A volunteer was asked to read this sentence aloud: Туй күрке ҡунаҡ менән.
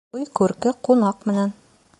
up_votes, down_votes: 1, 2